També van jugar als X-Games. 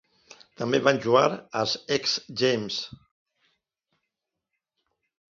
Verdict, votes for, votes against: rejected, 1, 2